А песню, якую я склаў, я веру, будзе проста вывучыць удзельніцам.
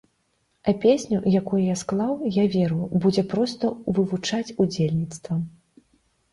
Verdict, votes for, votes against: rejected, 0, 2